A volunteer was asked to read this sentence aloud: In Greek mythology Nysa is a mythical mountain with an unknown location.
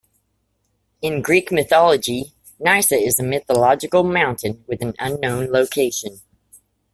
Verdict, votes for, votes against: accepted, 2, 0